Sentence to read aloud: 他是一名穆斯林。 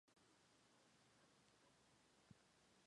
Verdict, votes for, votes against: rejected, 0, 2